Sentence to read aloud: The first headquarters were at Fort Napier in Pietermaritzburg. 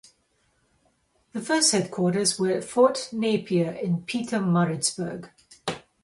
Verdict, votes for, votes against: accepted, 2, 0